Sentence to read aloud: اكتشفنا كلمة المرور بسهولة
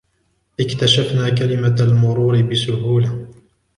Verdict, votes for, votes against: accepted, 2, 1